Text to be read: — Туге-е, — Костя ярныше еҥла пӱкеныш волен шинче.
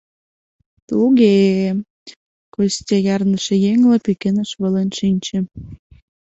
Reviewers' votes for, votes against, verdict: 2, 0, accepted